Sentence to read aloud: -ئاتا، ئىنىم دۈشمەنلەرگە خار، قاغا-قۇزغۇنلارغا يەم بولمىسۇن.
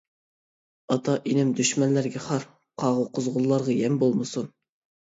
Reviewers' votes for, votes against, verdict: 2, 0, accepted